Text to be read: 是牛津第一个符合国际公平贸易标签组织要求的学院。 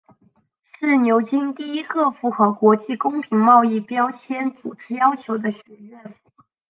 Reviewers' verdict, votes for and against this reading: accepted, 3, 1